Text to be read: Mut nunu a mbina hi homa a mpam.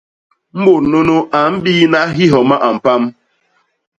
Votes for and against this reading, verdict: 0, 2, rejected